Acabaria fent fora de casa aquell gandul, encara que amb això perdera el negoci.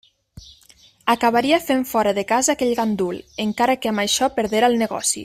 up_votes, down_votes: 3, 0